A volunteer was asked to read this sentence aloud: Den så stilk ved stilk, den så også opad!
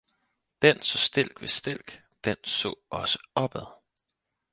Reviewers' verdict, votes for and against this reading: accepted, 4, 0